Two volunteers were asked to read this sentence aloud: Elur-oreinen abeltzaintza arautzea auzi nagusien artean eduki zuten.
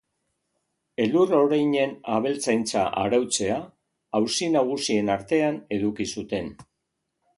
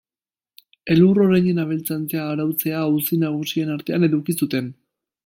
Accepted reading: first